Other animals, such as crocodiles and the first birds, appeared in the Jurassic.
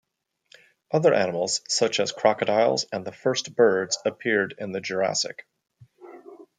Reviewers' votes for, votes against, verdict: 2, 0, accepted